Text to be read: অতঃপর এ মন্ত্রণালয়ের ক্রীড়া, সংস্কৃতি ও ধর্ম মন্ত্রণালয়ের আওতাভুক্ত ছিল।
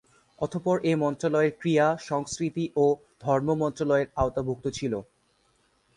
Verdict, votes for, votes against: accepted, 10, 1